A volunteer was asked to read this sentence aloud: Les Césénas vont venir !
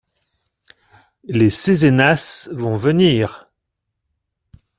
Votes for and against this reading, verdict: 2, 0, accepted